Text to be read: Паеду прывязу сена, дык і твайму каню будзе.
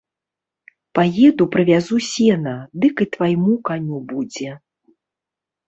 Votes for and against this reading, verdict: 2, 0, accepted